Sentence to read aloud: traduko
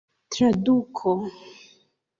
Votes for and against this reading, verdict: 3, 0, accepted